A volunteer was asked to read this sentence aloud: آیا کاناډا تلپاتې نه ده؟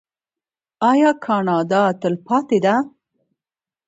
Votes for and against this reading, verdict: 2, 1, accepted